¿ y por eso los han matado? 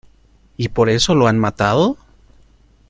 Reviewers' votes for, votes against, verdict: 0, 2, rejected